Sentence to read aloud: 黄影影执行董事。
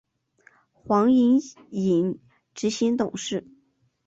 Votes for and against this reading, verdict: 3, 1, accepted